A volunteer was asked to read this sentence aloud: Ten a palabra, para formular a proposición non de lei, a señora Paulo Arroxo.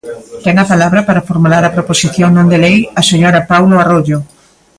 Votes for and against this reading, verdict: 0, 2, rejected